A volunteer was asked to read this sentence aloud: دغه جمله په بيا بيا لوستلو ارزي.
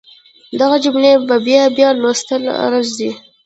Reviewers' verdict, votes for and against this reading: accepted, 2, 0